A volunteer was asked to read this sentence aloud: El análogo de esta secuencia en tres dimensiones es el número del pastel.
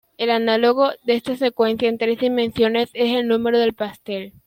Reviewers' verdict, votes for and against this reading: accepted, 2, 1